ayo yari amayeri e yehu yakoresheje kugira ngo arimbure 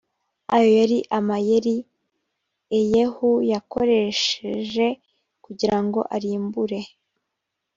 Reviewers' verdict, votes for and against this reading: accepted, 2, 0